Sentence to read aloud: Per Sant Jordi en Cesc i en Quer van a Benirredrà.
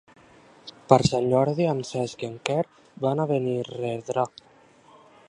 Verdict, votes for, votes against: accepted, 2, 0